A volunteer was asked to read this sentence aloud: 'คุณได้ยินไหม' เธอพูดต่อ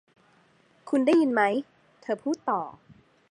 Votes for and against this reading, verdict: 2, 0, accepted